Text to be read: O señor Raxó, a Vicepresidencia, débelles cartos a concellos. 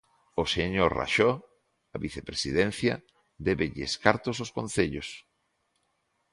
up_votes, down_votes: 1, 2